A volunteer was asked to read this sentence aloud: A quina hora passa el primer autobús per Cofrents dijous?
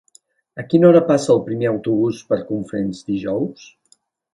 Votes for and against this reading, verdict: 1, 2, rejected